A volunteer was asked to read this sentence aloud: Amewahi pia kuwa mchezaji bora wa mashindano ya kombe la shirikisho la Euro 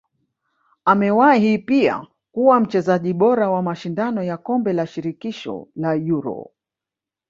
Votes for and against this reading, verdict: 2, 1, accepted